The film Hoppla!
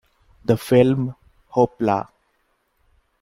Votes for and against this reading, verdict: 2, 0, accepted